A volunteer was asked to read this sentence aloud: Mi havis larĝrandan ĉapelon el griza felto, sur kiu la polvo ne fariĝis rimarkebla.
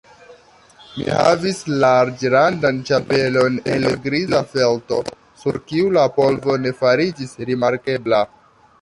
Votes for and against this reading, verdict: 0, 2, rejected